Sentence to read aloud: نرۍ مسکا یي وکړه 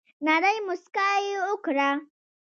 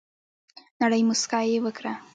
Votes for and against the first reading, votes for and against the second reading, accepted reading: 2, 0, 0, 2, first